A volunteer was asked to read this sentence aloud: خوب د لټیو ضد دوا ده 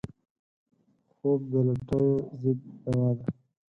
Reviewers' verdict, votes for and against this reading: rejected, 2, 4